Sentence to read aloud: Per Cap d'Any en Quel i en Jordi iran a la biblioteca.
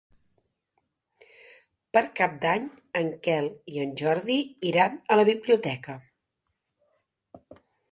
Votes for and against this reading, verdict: 3, 0, accepted